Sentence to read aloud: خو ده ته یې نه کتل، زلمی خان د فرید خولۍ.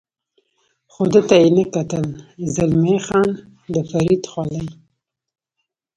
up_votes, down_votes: 2, 1